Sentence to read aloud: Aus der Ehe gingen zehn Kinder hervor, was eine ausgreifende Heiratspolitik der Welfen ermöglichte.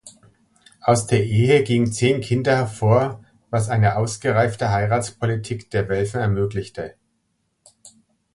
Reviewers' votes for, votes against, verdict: 1, 2, rejected